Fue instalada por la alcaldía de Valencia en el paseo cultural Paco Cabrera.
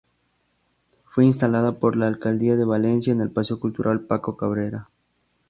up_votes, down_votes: 2, 0